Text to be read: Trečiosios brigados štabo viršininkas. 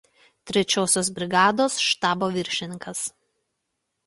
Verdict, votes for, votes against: accepted, 2, 0